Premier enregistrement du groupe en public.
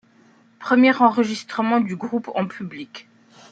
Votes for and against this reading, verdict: 2, 0, accepted